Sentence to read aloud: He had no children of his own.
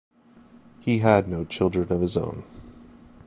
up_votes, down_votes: 2, 0